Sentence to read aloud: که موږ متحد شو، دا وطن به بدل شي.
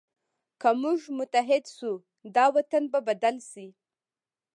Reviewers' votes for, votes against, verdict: 1, 2, rejected